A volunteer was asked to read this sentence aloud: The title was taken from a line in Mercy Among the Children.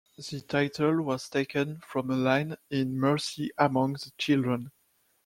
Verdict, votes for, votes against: rejected, 1, 2